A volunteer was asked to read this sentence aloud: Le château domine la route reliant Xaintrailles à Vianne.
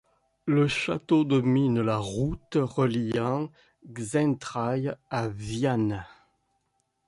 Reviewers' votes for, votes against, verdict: 2, 0, accepted